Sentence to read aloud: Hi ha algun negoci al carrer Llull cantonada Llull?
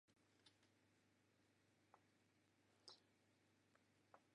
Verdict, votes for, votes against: rejected, 1, 2